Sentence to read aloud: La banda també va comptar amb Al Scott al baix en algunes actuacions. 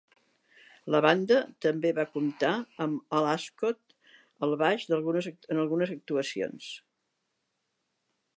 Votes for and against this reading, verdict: 2, 3, rejected